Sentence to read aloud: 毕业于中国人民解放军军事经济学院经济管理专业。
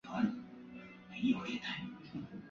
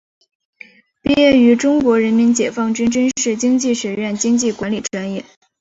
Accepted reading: second